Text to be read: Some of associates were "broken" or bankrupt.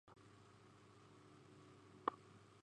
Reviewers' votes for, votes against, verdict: 0, 2, rejected